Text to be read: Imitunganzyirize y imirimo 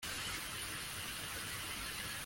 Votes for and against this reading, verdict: 0, 2, rejected